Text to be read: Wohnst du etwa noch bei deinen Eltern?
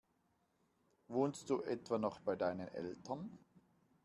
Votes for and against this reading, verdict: 2, 0, accepted